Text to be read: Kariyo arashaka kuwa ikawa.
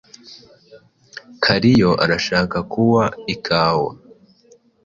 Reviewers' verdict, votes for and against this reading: accepted, 2, 0